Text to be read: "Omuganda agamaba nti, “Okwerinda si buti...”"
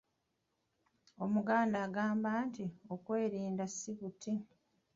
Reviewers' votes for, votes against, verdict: 2, 1, accepted